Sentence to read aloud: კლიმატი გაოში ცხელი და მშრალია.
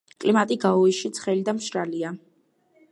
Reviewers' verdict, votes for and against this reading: accepted, 2, 1